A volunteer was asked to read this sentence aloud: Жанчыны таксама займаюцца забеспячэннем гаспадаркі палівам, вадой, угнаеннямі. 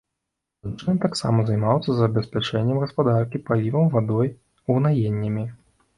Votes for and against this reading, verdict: 0, 2, rejected